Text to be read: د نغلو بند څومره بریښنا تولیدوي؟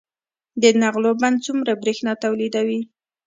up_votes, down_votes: 2, 0